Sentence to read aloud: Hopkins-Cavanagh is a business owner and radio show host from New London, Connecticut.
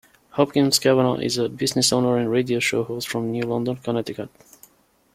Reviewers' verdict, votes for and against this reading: accepted, 2, 0